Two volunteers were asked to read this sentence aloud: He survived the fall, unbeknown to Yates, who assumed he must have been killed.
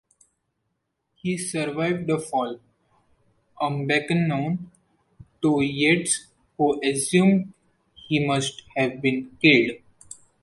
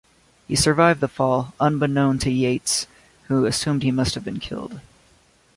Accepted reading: second